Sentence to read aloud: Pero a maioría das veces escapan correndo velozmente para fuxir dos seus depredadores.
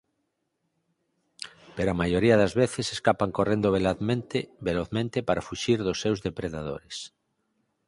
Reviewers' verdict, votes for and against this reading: rejected, 10, 32